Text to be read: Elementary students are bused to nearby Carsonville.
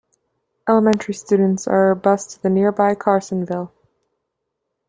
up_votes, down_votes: 2, 1